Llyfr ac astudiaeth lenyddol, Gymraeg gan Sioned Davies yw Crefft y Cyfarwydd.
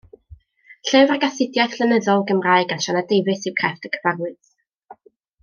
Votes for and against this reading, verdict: 0, 2, rejected